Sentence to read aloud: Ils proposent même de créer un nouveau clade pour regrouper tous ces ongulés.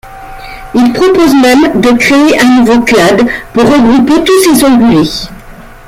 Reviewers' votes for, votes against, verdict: 1, 2, rejected